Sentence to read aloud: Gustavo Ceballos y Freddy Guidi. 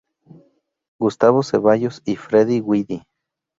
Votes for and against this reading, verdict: 2, 0, accepted